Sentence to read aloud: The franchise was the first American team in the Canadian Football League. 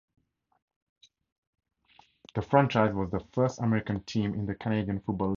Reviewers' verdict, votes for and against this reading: rejected, 0, 4